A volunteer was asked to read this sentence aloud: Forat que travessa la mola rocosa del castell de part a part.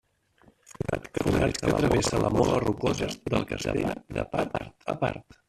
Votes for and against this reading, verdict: 0, 2, rejected